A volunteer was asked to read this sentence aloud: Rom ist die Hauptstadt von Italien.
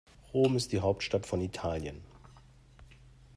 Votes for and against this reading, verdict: 2, 0, accepted